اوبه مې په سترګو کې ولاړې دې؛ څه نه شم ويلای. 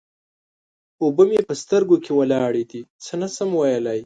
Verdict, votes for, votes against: rejected, 1, 2